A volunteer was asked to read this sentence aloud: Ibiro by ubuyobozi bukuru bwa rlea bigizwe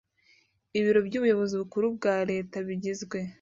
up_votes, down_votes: 1, 2